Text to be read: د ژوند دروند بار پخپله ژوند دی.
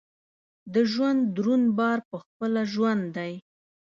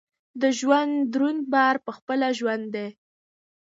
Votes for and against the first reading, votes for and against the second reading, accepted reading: 1, 2, 2, 0, second